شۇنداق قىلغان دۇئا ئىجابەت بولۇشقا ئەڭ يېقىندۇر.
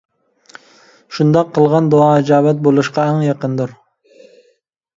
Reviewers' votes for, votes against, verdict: 2, 0, accepted